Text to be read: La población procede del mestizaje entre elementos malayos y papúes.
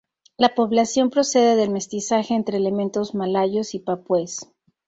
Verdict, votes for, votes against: accepted, 2, 0